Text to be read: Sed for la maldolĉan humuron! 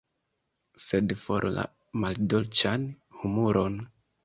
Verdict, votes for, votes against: accepted, 2, 0